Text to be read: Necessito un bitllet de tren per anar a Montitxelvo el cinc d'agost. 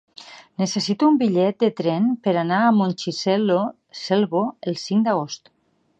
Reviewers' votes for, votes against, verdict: 1, 2, rejected